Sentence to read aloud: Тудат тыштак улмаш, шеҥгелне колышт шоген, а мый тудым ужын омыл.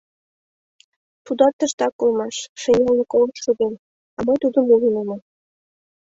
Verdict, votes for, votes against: accepted, 2, 1